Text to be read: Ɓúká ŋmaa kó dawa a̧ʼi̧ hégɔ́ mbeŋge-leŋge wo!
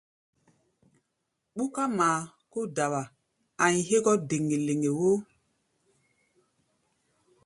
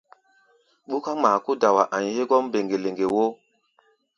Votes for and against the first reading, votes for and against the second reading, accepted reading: 1, 2, 2, 0, second